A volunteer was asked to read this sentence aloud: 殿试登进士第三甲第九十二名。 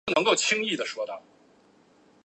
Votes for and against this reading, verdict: 0, 2, rejected